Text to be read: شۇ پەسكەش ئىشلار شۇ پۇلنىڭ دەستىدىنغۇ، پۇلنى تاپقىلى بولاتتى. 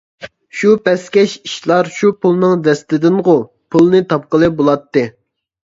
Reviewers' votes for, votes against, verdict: 2, 0, accepted